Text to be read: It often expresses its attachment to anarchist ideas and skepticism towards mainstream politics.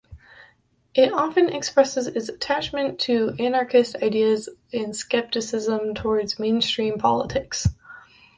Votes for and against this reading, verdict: 2, 0, accepted